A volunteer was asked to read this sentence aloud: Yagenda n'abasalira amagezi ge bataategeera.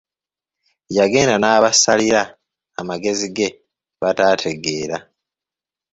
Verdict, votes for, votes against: rejected, 1, 2